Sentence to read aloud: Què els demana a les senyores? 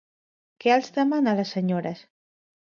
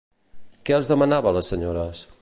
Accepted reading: first